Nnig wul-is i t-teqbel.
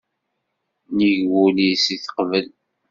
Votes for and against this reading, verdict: 2, 0, accepted